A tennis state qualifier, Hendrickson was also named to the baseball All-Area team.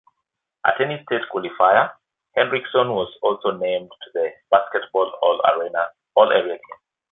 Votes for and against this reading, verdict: 1, 2, rejected